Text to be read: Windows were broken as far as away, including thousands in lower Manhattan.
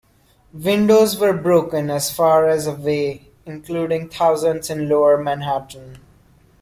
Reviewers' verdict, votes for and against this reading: accepted, 2, 1